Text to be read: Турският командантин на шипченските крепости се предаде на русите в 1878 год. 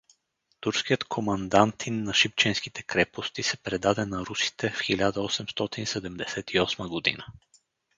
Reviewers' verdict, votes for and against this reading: rejected, 0, 2